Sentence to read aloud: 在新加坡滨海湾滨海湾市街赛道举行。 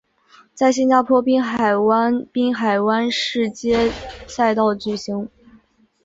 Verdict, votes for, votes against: accepted, 3, 1